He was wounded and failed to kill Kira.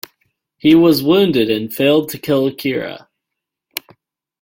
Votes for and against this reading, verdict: 2, 0, accepted